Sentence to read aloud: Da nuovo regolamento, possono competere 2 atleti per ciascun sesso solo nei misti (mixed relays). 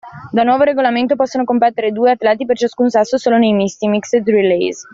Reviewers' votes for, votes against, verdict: 0, 2, rejected